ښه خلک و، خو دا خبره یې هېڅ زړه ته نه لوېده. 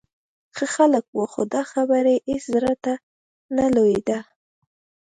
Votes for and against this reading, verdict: 2, 0, accepted